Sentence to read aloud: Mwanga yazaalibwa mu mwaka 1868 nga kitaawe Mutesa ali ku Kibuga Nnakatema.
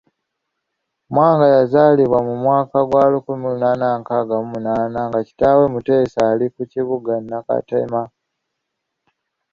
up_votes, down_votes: 0, 2